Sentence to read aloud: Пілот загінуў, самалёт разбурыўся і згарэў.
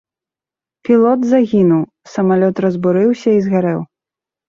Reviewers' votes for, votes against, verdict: 2, 0, accepted